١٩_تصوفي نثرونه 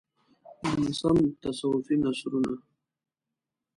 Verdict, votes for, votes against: rejected, 0, 2